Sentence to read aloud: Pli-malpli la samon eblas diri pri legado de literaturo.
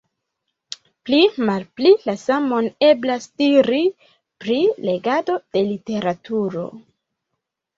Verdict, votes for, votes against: rejected, 0, 2